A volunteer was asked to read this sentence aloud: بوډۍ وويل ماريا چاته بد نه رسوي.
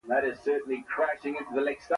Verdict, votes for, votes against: rejected, 0, 2